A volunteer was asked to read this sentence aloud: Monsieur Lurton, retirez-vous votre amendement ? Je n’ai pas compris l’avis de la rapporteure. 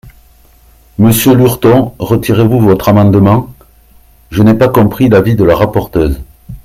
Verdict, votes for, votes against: rejected, 0, 2